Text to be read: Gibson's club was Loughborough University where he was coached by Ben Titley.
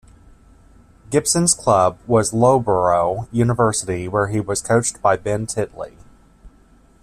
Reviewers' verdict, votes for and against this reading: rejected, 1, 2